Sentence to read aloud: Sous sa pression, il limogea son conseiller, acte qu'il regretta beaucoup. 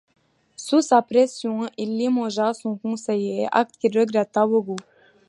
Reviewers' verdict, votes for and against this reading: accepted, 2, 0